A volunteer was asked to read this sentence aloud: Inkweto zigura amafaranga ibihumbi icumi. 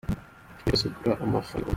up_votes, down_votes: 0, 2